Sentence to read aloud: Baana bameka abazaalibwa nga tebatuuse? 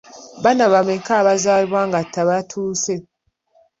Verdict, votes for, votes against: accepted, 2, 0